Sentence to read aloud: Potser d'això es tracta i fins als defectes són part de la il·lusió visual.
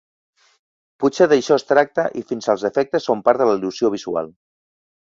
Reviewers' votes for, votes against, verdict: 2, 1, accepted